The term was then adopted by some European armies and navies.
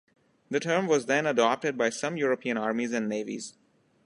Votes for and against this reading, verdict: 2, 0, accepted